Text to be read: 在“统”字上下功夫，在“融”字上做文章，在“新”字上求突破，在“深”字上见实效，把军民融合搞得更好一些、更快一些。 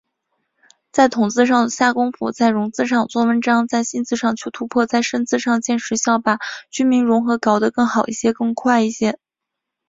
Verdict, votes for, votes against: accepted, 4, 0